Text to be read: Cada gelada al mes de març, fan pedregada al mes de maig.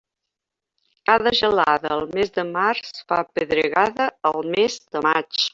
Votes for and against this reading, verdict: 1, 2, rejected